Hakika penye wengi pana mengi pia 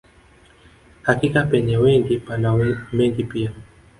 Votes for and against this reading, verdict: 2, 0, accepted